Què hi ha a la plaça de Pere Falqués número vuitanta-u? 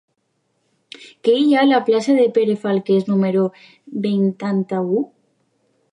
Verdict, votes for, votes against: rejected, 0, 2